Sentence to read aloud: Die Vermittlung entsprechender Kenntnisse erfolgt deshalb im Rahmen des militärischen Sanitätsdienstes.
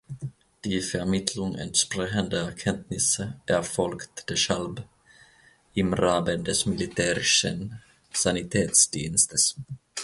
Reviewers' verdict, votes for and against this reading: rejected, 0, 2